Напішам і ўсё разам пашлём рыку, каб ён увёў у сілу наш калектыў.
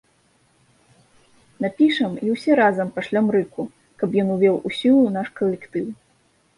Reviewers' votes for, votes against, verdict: 1, 2, rejected